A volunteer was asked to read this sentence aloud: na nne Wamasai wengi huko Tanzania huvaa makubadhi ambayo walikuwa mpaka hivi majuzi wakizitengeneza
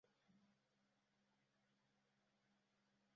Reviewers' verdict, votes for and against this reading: rejected, 0, 2